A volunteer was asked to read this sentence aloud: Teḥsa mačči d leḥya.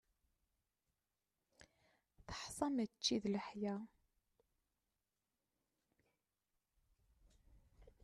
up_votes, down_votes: 1, 2